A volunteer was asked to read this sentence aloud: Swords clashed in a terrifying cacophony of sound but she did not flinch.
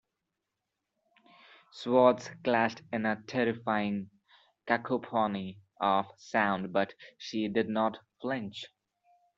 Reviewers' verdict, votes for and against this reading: rejected, 1, 2